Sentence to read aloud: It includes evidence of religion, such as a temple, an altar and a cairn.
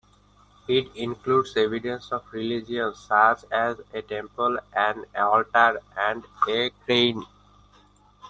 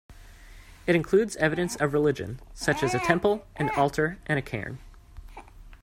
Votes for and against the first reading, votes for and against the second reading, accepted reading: 0, 2, 2, 0, second